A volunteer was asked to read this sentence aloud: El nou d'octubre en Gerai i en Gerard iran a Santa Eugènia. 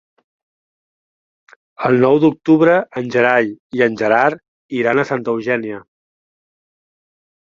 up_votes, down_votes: 2, 0